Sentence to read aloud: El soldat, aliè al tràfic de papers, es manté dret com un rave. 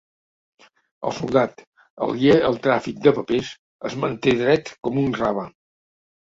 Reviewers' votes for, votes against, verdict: 2, 0, accepted